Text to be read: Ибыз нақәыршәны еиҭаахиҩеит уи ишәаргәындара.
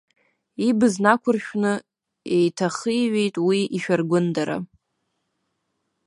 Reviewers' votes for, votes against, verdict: 0, 2, rejected